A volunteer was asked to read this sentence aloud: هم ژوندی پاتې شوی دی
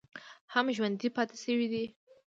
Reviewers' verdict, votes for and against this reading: accepted, 2, 0